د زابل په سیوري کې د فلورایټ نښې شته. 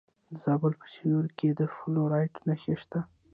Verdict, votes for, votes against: accepted, 2, 0